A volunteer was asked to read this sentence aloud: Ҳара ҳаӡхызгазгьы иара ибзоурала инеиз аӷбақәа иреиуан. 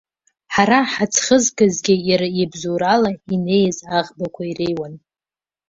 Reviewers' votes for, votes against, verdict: 2, 1, accepted